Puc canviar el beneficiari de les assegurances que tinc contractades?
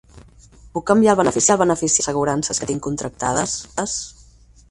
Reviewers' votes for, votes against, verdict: 2, 4, rejected